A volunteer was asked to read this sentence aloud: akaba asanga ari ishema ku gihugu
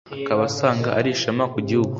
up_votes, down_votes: 2, 0